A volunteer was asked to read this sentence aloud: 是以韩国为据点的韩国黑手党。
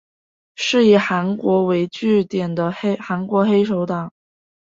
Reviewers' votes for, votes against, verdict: 2, 0, accepted